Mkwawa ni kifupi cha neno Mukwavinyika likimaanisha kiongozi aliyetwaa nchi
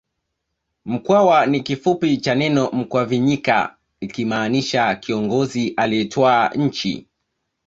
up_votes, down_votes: 2, 0